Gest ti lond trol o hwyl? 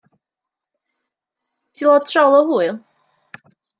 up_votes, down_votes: 1, 2